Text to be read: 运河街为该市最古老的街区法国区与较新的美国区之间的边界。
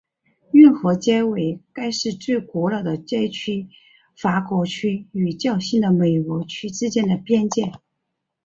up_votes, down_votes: 2, 0